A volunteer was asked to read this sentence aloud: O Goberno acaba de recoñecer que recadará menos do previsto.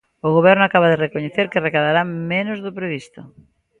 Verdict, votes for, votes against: accepted, 2, 0